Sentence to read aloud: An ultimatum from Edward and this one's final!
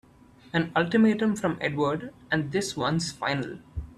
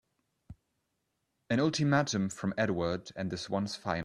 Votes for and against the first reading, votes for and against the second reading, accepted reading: 2, 0, 2, 3, first